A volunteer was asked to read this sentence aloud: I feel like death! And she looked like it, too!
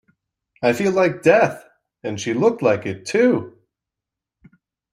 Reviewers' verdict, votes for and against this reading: accepted, 2, 0